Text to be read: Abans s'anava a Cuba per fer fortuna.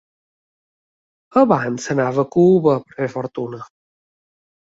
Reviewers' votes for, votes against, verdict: 2, 1, accepted